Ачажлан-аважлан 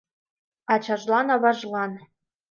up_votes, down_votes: 2, 0